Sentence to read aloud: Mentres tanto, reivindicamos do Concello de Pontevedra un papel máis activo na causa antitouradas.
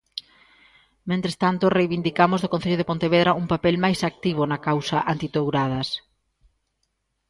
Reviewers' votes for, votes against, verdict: 2, 0, accepted